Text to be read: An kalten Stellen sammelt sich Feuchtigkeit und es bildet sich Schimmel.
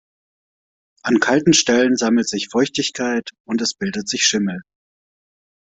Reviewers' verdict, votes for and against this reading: accepted, 2, 0